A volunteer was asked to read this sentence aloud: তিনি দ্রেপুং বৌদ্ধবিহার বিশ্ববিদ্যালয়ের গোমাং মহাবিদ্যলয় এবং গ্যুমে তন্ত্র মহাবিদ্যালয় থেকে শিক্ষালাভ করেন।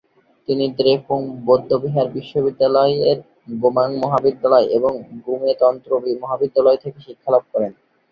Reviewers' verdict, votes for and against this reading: accepted, 3, 2